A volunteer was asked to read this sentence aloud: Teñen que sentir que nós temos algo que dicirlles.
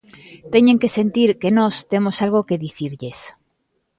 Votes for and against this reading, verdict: 2, 0, accepted